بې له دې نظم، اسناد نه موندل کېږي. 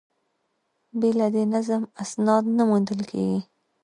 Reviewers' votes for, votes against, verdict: 0, 2, rejected